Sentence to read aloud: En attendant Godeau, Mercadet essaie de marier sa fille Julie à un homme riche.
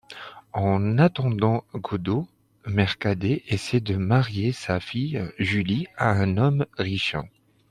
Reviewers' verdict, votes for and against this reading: rejected, 0, 2